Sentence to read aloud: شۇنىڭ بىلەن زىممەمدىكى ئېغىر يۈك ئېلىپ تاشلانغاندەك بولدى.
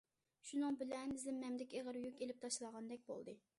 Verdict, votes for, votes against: accepted, 2, 0